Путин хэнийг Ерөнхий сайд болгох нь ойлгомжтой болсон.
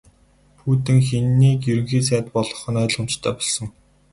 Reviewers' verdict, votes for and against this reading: rejected, 2, 2